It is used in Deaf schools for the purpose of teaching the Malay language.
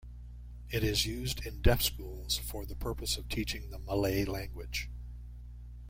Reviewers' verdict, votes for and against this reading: accepted, 2, 1